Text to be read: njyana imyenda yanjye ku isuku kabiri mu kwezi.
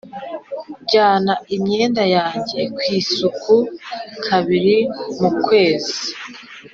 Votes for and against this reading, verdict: 3, 0, accepted